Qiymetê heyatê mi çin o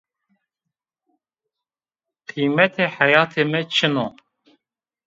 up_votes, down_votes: 2, 0